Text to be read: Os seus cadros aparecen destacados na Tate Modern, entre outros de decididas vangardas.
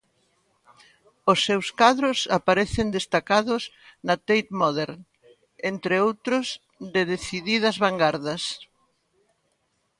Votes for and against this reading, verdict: 2, 0, accepted